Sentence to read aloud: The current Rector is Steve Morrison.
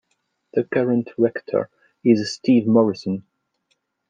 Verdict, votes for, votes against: accepted, 2, 0